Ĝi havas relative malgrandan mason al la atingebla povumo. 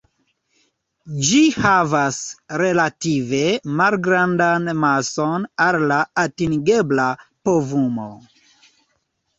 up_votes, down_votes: 0, 2